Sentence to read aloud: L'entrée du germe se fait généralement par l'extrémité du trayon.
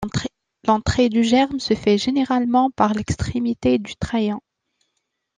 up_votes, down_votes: 0, 2